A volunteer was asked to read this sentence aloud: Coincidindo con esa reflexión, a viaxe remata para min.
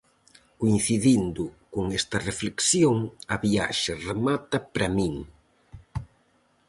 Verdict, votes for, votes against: rejected, 2, 2